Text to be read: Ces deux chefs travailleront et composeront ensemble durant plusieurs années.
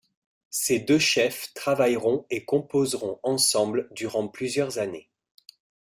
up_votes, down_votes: 2, 0